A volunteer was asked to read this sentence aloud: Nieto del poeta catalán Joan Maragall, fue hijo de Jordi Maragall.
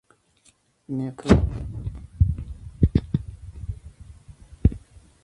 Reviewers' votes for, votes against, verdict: 0, 2, rejected